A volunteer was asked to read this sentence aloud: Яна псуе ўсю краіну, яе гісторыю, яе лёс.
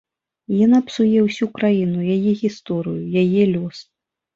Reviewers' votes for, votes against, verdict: 2, 0, accepted